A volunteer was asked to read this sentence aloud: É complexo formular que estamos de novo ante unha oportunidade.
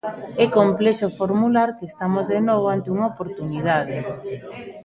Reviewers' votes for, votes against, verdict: 2, 0, accepted